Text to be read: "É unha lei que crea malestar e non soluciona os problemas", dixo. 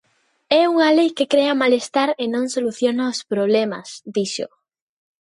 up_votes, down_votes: 2, 0